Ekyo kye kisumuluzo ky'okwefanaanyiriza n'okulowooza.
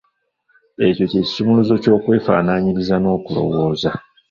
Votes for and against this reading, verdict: 0, 2, rejected